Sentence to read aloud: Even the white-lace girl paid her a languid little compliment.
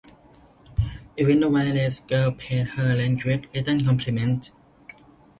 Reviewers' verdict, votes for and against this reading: accepted, 2, 1